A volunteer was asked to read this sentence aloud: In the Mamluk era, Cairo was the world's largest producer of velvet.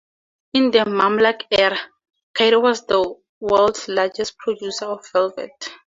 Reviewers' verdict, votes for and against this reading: accepted, 4, 0